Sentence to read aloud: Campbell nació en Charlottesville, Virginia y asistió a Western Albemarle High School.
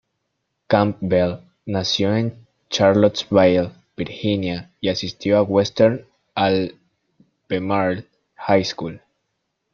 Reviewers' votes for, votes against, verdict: 1, 2, rejected